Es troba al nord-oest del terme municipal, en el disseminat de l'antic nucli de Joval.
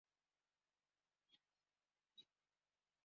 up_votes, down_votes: 0, 2